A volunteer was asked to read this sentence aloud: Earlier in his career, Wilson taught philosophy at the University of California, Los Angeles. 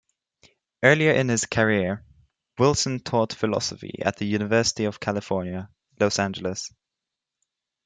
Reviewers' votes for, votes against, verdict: 2, 0, accepted